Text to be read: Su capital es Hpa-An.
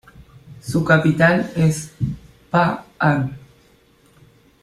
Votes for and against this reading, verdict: 0, 2, rejected